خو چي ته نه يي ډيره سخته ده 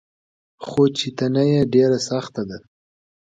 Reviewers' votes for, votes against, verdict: 2, 0, accepted